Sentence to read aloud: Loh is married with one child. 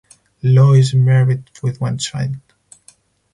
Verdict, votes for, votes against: accepted, 4, 0